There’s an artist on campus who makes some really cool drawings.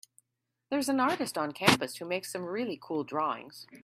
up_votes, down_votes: 1, 2